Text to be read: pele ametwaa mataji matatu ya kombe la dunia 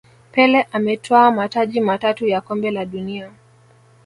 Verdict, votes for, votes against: accepted, 2, 1